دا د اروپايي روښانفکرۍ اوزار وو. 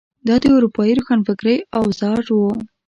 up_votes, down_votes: 2, 0